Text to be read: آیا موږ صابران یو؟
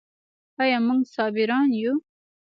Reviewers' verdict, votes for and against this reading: accepted, 2, 0